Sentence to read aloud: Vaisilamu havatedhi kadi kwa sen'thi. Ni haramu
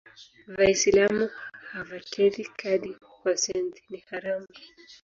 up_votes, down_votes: 0, 3